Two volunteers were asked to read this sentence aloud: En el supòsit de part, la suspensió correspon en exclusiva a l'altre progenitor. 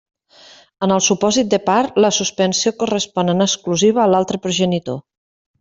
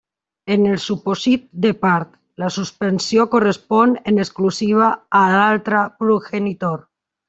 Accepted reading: first